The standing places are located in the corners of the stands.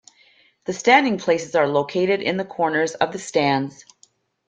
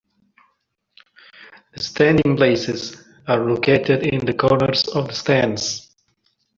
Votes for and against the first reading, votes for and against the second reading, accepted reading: 2, 0, 1, 2, first